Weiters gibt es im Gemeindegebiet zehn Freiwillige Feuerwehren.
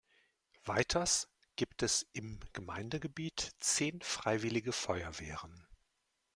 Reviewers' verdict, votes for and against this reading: accepted, 2, 0